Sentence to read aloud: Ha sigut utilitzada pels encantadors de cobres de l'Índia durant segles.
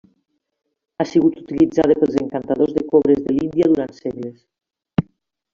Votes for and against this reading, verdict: 2, 0, accepted